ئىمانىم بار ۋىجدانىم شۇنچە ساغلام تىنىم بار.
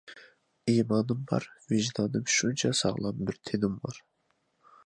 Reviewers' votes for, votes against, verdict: 0, 2, rejected